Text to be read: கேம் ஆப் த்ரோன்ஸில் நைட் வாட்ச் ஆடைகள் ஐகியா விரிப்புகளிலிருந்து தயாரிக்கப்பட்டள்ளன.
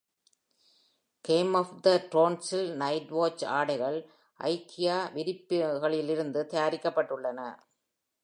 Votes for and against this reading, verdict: 2, 0, accepted